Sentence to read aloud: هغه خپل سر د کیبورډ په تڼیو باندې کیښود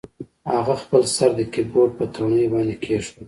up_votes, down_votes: 2, 0